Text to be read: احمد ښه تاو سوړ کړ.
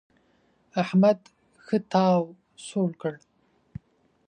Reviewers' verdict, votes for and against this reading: accepted, 2, 0